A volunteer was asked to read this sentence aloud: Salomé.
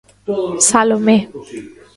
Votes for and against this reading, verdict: 0, 2, rejected